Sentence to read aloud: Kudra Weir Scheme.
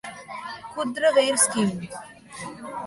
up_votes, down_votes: 1, 2